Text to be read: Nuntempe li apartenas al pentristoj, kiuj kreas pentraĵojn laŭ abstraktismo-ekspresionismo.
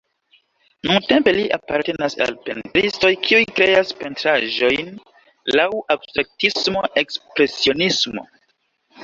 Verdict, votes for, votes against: accepted, 3, 2